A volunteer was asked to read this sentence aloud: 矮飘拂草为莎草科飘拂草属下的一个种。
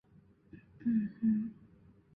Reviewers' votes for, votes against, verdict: 0, 3, rejected